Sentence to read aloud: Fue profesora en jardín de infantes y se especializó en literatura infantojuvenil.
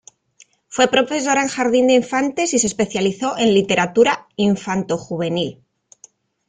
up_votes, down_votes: 1, 2